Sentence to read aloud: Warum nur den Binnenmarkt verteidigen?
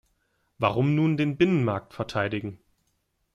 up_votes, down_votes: 1, 2